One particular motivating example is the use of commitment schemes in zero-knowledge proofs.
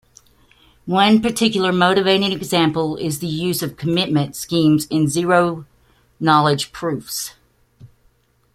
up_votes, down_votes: 2, 0